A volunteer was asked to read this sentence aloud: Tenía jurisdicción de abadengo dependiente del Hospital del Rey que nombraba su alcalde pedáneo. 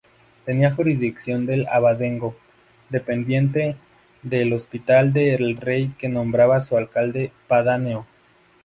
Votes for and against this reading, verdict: 0, 2, rejected